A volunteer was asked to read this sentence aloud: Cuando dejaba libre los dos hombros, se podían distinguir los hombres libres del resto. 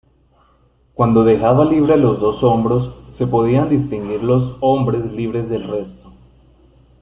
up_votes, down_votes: 1, 2